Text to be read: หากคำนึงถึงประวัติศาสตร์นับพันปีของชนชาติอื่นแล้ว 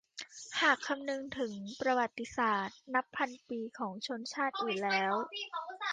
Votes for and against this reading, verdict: 0, 2, rejected